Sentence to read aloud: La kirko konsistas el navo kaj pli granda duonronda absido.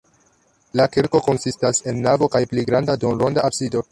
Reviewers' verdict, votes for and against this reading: rejected, 0, 3